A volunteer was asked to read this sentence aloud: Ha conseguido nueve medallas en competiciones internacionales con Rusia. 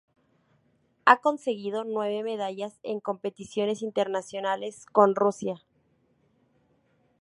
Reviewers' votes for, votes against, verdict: 2, 0, accepted